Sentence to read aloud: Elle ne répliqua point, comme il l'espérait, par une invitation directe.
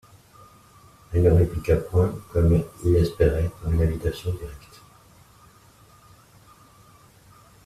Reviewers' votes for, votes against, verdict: 1, 2, rejected